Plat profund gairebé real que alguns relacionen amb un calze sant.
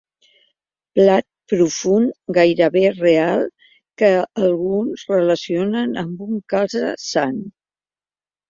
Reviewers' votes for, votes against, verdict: 4, 1, accepted